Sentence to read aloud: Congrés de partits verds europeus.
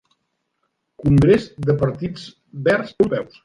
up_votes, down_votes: 0, 2